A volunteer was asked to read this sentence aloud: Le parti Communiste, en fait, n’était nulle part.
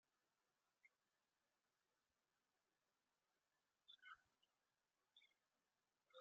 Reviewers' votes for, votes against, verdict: 0, 2, rejected